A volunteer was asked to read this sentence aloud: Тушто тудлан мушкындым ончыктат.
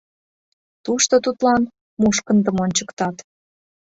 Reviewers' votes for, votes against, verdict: 3, 0, accepted